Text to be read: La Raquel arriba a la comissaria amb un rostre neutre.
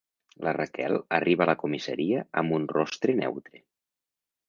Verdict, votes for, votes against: accepted, 3, 0